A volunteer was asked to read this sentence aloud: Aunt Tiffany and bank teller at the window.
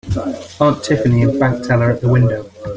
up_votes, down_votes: 2, 0